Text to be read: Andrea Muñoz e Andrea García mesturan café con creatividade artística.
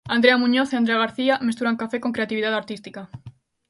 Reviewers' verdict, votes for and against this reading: accepted, 2, 0